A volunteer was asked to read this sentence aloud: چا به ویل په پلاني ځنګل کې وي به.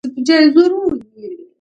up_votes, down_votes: 0, 2